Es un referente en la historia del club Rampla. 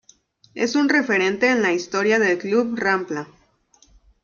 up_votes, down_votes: 2, 0